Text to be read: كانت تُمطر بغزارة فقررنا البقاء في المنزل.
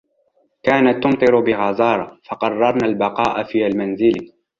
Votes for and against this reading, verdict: 2, 0, accepted